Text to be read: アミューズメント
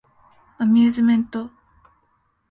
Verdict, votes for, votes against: accepted, 2, 0